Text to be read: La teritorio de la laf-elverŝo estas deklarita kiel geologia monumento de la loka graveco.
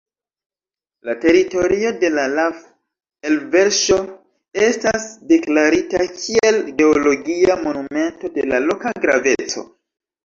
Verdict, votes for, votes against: rejected, 0, 2